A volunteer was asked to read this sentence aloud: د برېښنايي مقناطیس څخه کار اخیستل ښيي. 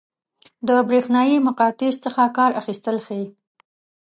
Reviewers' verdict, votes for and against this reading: rejected, 1, 2